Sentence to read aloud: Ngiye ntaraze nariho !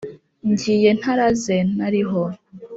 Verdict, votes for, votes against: accepted, 3, 0